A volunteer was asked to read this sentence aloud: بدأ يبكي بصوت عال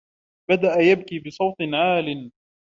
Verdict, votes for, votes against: accepted, 2, 0